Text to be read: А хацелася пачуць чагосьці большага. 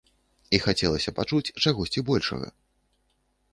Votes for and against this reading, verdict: 1, 2, rejected